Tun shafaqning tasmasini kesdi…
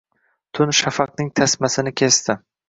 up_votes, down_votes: 1, 2